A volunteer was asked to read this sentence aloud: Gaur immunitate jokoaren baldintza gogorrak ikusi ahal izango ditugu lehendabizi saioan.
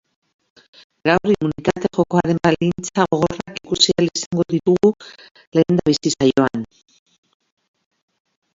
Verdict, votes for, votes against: rejected, 2, 3